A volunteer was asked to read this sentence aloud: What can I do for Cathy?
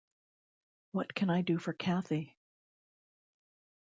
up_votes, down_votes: 1, 2